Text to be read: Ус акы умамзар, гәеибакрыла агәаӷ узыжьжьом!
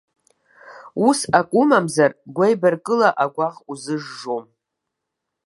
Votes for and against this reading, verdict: 0, 2, rejected